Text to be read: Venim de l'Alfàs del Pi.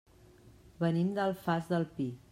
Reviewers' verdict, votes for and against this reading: rejected, 1, 2